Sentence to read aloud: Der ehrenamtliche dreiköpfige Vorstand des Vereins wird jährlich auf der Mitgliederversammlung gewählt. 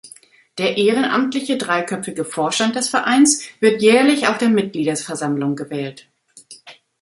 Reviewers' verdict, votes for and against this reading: rejected, 0, 2